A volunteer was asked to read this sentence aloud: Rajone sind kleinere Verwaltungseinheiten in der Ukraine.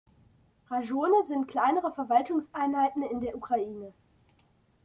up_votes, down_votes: 2, 0